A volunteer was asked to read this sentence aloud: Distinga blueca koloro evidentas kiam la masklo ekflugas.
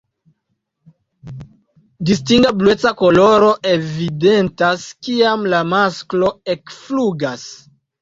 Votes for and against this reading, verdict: 2, 0, accepted